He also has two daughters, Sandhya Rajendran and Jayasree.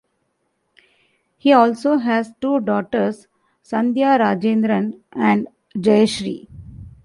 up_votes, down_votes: 2, 0